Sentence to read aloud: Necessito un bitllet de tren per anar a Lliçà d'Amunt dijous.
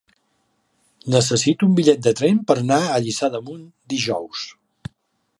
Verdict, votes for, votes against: rejected, 1, 2